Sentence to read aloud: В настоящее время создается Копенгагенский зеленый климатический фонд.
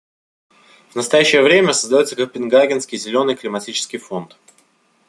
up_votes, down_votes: 2, 0